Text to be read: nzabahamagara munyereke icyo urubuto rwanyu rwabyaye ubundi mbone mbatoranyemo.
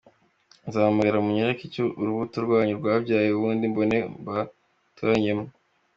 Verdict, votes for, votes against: accepted, 3, 2